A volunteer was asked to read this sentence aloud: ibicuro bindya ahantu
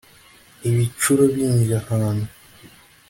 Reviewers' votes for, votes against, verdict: 2, 0, accepted